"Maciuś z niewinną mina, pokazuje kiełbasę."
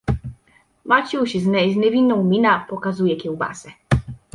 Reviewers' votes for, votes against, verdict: 0, 2, rejected